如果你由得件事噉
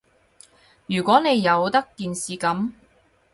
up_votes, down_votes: 2, 2